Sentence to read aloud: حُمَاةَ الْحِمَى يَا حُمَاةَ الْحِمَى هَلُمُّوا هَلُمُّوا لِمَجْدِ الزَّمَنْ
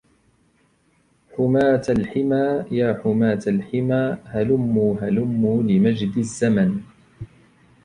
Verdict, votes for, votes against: accepted, 2, 0